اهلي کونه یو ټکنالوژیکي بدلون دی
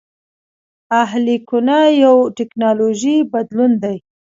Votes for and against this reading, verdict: 0, 2, rejected